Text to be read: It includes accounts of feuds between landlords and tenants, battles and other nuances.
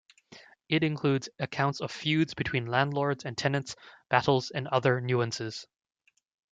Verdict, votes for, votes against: accepted, 2, 0